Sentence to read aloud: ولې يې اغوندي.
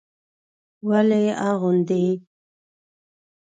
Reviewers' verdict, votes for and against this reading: accepted, 2, 0